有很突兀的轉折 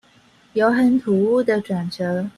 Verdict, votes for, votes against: rejected, 0, 2